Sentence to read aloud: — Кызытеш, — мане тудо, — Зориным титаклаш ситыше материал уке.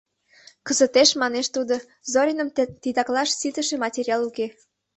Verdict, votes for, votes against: accepted, 2, 0